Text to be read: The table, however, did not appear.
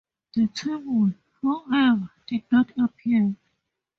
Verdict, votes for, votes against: rejected, 2, 2